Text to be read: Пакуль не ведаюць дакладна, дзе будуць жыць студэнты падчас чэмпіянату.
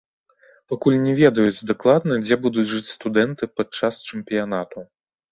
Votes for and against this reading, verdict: 1, 2, rejected